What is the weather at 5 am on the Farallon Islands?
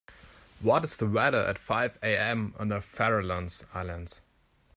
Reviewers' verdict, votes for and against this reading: rejected, 0, 2